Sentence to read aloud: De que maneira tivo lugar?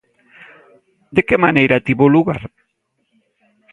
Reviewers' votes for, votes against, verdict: 2, 0, accepted